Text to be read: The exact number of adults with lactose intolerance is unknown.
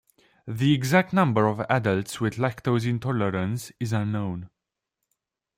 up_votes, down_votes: 2, 0